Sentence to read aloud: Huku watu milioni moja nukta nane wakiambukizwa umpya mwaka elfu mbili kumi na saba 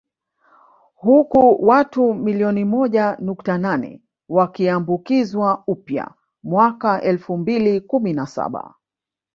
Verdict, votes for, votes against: rejected, 0, 2